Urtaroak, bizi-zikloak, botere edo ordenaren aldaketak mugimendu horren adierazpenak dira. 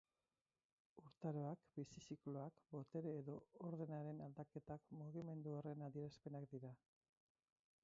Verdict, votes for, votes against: rejected, 0, 4